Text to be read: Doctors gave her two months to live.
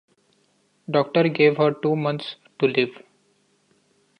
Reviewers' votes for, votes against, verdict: 1, 2, rejected